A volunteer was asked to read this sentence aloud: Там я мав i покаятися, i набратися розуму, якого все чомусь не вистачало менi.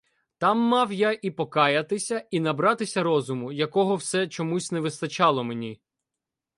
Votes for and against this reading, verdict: 0, 2, rejected